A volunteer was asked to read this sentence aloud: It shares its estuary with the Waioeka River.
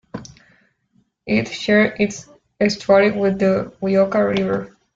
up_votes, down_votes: 0, 2